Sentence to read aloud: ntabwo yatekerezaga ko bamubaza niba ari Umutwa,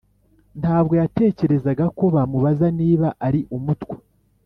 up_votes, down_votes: 2, 0